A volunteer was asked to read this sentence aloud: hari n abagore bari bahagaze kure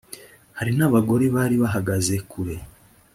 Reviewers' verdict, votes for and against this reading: accepted, 2, 0